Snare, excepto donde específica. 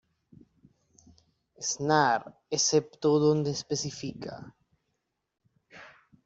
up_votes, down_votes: 2, 0